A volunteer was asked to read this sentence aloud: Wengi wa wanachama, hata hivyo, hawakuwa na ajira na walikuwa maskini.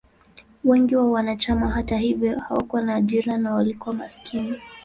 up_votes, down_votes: 2, 0